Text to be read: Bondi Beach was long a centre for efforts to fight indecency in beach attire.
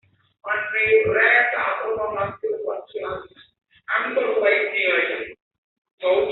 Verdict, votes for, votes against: rejected, 0, 2